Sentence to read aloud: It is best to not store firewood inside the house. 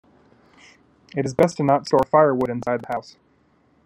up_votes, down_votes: 1, 2